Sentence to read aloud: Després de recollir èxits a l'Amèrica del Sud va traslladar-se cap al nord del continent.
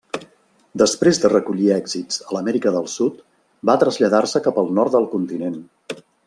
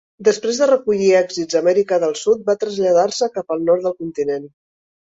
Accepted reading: first